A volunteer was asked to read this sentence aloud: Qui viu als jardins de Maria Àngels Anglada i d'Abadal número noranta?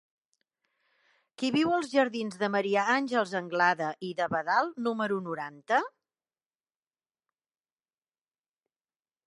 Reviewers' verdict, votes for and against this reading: accepted, 2, 0